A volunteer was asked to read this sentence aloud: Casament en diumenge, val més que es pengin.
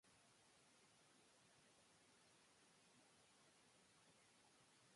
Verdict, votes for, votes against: rejected, 0, 2